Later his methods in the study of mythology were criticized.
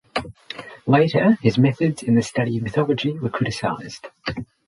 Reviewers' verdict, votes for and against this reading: accepted, 6, 0